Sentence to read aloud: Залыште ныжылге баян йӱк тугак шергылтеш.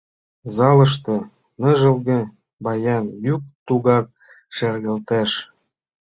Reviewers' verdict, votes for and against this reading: rejected, 0, 2